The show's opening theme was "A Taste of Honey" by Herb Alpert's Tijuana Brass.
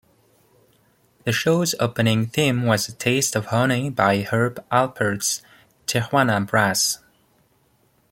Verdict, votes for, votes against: accepted, 2, 0